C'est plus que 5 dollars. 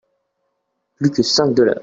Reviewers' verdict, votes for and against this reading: rejected, 0, 2